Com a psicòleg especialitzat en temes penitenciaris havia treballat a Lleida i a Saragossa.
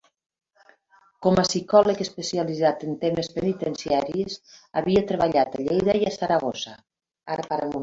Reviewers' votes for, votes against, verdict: 0, 2, rejected